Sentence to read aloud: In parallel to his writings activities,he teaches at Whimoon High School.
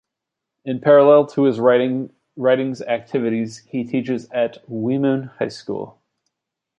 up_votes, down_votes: 1, 2